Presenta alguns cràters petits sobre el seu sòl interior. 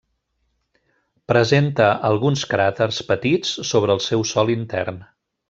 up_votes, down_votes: 0, 2